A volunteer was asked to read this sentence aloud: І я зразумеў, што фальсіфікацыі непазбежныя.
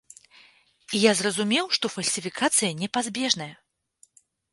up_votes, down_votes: 1, 2